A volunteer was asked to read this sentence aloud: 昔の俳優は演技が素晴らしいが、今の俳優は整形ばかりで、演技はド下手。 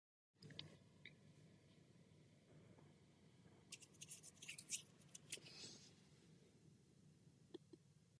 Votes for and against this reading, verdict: 1, 2, rejected